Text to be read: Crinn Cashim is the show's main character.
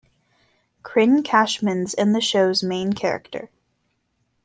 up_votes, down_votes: 0, 2